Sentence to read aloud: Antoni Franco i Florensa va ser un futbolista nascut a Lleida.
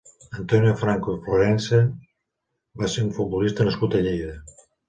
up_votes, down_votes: 1, 2